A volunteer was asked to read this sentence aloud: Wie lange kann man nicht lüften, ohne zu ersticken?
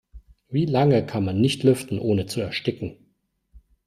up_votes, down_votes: 2, 0